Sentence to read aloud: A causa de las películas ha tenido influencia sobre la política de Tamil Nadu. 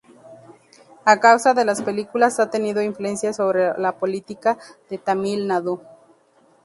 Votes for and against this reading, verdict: 2, 0, accepted